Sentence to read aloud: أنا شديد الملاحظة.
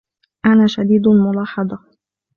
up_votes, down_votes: 2, 0